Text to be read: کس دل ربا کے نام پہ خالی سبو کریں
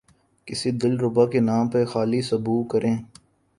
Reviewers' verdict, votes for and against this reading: accepted, 2, 0